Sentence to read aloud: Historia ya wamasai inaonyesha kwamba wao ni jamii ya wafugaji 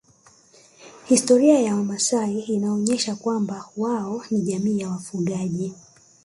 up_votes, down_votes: 3, 1